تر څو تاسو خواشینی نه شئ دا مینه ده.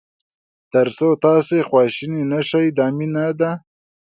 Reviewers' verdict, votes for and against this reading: accepted, 2, 0